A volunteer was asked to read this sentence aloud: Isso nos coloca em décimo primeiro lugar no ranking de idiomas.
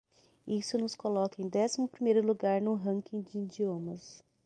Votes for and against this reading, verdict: 6, 0, accepted